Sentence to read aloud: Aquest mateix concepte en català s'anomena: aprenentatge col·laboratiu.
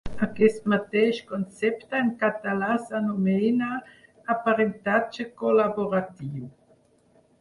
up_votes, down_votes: 4, 0